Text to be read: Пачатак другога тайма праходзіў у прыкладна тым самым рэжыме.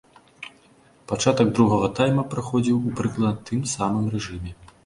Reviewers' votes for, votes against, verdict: 0, 2, rejected